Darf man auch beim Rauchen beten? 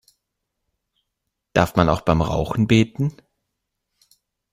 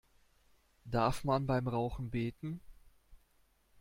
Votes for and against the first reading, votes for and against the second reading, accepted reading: 2, 0, 1, 2, first